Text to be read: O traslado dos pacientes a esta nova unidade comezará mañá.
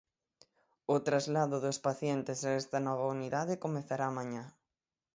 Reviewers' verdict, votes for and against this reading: rejected, 3, 6